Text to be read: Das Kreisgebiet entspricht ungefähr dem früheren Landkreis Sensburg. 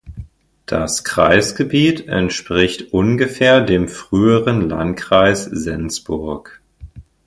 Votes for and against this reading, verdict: 2, 0, accepted